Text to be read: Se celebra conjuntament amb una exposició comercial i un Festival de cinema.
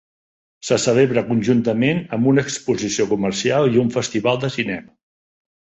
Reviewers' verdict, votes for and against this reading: accepted, 5, 0